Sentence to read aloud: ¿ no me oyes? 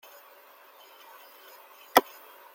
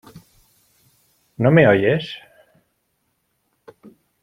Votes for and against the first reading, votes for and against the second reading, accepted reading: 0, 2, 2, 0, second